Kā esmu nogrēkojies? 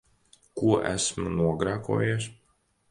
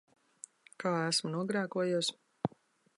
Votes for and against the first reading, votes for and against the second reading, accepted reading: 0, 2, 2, 0, second